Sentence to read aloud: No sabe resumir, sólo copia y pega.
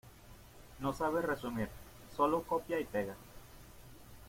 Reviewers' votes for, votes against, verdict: 2, 0, accepted